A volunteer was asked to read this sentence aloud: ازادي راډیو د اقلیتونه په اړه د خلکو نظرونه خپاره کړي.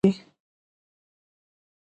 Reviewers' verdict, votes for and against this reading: accepted, 2, 0